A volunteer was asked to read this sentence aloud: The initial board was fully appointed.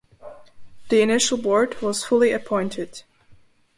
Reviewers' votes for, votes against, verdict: 2, 0, accepted